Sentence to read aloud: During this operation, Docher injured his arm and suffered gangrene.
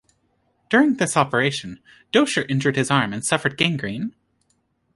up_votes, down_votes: 3, 0